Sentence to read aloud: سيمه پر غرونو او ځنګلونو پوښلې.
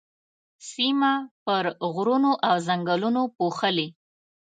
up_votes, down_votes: 2, 0